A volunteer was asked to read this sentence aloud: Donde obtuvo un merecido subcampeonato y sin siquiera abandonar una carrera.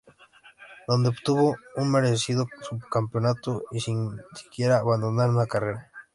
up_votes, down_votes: 2, 0